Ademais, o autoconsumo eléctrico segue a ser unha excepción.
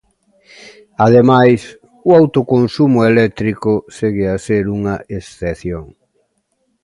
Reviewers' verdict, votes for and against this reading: accepted, 2, 0